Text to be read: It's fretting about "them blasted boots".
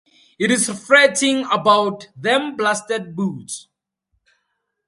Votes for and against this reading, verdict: 2, 2, rejected